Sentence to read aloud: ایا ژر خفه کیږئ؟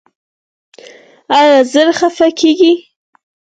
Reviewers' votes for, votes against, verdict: 4, 0, accepted